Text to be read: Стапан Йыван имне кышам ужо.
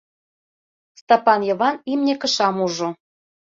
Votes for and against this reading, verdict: 2, 0, accepted